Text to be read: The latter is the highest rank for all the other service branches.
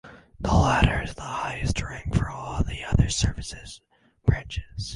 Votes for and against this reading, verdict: 0, 4, rejected